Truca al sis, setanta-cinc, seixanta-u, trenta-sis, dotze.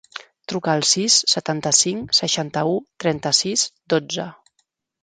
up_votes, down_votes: 3, 0